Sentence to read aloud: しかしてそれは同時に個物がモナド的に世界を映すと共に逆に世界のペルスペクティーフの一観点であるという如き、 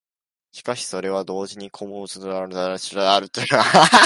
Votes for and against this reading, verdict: 0, 2, rejected